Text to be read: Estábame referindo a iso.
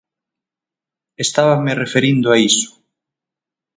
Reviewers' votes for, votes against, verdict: 6, 0, accepted